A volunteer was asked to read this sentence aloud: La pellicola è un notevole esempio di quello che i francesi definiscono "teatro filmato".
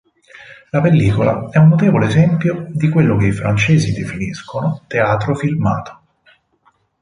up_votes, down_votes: 4, 0